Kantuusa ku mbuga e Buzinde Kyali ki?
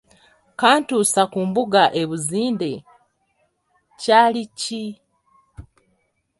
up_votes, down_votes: 2, 0